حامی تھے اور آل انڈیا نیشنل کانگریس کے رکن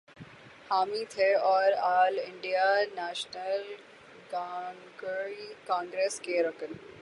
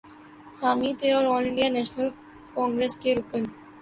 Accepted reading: second